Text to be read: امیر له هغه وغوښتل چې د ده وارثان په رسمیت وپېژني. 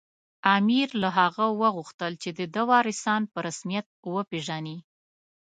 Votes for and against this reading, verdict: 2, 0, accepted